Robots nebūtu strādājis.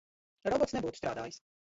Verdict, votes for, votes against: rejected, 1, 2